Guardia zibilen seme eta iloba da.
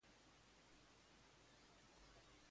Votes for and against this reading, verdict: 0, 2, rejected